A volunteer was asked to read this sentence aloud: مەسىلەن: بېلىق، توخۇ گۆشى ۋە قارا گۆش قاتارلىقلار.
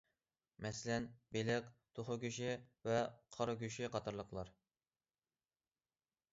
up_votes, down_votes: 1, 2